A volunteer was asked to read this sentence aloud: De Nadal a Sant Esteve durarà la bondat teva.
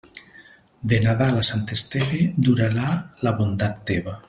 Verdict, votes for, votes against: accepted, 2, 0